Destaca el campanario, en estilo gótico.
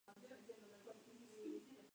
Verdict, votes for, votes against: rejected, 0, 4